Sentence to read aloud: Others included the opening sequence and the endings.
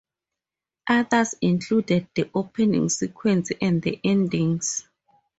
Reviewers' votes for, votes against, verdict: 4, 0, accepted